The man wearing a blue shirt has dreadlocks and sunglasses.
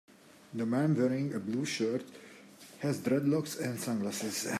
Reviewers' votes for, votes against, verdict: 2, 0, accepted